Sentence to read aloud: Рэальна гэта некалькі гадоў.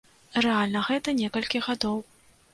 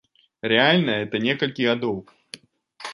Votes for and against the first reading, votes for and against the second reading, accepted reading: 2, 0, 0, 2, first